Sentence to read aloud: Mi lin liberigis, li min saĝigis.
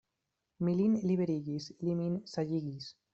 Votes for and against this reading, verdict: 0, 2, rejected